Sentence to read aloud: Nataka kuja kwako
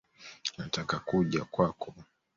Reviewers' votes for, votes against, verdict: 1, 2, rejected